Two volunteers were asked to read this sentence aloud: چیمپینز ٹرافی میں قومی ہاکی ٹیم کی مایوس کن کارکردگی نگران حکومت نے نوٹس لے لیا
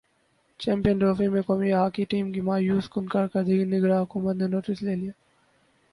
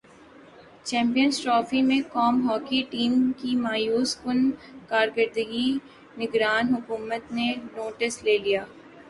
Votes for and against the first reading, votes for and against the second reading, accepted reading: 2, 2, 4, 1, second